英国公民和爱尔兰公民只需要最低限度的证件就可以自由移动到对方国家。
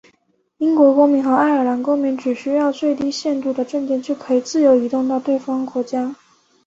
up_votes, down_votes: 3, 0